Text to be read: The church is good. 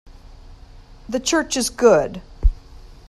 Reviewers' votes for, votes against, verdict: 3, 0, accepted